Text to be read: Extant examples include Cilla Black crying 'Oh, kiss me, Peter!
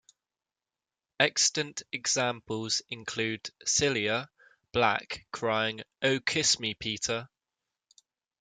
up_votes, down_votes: 2, 0